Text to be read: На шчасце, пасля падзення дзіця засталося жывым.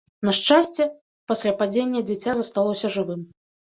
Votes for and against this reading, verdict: 1, 2, rejected